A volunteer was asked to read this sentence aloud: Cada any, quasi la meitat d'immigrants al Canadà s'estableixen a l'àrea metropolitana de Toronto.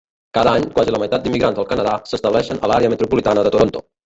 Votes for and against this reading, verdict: 0, 2, rejected